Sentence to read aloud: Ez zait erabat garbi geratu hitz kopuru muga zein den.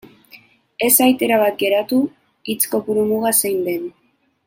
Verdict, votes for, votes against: rejected, 0, 2